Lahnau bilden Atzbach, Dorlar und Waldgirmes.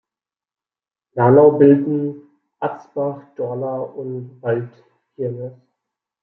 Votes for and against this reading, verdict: 1, 2, rejected